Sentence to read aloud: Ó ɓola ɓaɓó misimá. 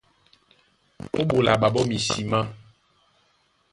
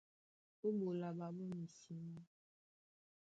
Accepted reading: first